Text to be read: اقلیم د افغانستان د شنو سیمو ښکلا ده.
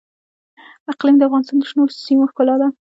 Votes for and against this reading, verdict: 2, 0, accepted